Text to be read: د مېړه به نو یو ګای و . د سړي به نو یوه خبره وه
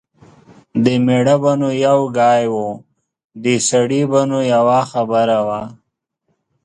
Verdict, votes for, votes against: accepted, 2, 0